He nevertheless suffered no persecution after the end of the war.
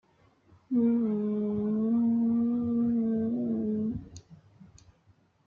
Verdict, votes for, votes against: rejected, 0, 2